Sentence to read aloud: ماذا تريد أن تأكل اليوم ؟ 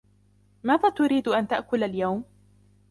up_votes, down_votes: 2, 0